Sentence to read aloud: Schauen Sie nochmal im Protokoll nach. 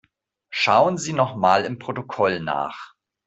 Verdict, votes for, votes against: accepted, 2, 0